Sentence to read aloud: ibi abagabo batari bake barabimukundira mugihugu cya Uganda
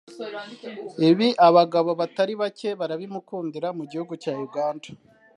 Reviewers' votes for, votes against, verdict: 2, 0, accepted